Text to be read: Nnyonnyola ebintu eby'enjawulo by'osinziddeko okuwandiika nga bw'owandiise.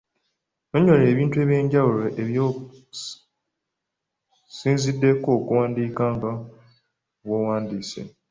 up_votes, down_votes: 1, 2